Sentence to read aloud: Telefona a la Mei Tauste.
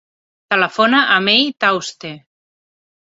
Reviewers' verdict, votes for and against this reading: rejected, 0, 3